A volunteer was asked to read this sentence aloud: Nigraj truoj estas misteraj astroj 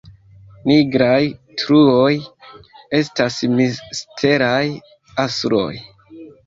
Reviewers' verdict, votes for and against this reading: rejected, 1, 2